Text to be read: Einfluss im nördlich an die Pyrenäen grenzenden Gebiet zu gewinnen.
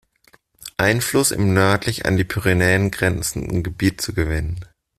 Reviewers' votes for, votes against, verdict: 2, 0, accepted